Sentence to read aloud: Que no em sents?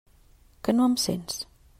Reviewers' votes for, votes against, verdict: 3, 0, accepted